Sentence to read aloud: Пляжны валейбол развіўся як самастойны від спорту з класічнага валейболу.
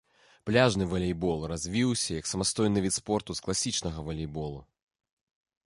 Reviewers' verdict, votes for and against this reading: accepted, 2, 0